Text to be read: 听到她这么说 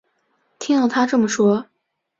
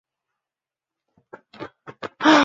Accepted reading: first